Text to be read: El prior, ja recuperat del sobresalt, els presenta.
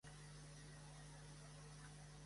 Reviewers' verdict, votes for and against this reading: rejected, 0, 2